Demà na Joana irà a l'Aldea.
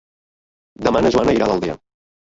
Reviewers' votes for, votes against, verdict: 0, 2, rejected